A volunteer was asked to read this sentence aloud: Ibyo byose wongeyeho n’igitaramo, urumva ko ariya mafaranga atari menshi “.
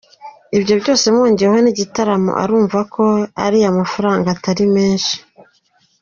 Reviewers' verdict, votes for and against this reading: rejected, 1, 2